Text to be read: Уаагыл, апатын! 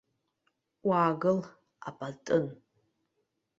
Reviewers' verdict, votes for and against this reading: accepted, 2, 0